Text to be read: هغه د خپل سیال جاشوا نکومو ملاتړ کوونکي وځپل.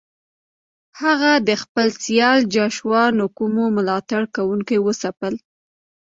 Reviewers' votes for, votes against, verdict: 2, 0, accepted